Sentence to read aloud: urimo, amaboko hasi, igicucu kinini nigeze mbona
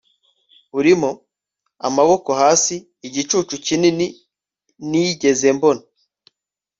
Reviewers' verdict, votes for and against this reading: accepted, 2, 0